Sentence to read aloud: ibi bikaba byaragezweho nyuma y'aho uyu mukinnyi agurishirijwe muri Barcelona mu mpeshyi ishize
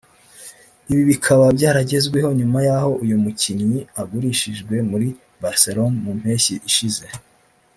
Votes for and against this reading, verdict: 2, 1, accepted